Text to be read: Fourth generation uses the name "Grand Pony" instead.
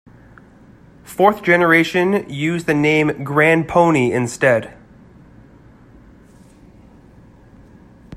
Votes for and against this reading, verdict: 2, 1, accepted